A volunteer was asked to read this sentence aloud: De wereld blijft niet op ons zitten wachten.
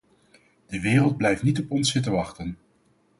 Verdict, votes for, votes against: accepted, 4, 0